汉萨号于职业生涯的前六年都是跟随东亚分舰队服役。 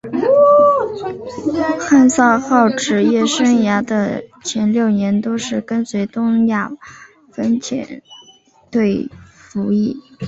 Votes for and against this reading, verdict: 1, 2, rejected